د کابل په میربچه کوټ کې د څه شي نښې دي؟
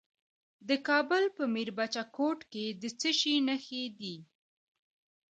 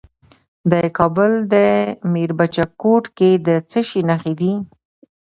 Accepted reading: first